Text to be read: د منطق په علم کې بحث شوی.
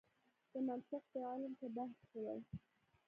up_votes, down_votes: 1, 2